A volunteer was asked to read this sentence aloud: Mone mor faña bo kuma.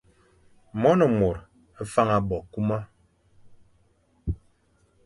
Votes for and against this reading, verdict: 2, 0, accepted